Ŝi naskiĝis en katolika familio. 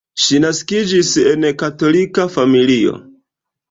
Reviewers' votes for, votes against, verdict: 1, 2, rejected